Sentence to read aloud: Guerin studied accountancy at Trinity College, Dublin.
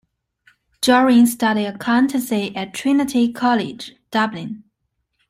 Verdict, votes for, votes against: accepted, 2, 0